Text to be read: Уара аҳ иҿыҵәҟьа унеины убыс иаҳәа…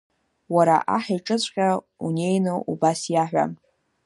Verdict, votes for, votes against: accepted, 2, 1